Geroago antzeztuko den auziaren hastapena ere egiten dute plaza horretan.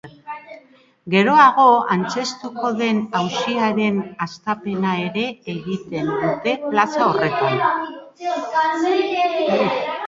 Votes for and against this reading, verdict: 1, 2, rejected